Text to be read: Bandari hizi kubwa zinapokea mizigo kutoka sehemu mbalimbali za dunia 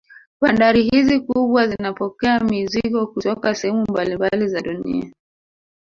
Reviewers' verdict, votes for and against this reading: rejected, 0, 2